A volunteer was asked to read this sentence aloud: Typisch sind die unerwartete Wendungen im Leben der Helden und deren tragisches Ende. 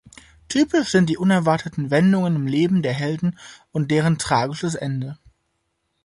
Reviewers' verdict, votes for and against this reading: accepted, 2, 0